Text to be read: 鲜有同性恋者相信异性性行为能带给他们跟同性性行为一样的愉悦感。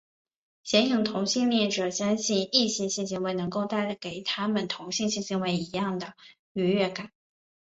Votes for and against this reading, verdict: 2, 0, accepted